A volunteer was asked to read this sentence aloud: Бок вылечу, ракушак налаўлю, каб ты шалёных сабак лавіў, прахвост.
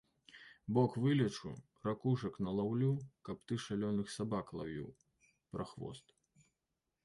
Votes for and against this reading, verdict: 2, 0, accepted